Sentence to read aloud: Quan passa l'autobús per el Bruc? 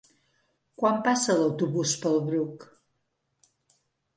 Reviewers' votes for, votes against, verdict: 1, 2, rejected